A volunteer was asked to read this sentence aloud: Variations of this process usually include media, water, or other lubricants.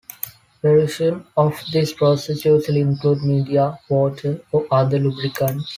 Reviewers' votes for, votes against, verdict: 1, 2, rejected